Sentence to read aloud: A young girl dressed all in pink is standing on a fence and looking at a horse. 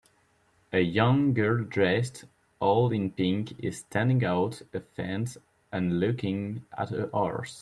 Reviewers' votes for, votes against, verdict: 3, 1, accepted